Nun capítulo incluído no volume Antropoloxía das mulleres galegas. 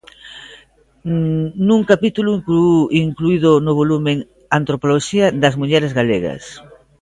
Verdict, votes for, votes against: rejected, 1, 2